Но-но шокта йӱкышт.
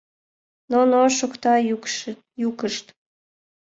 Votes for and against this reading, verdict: 1, 2, rejected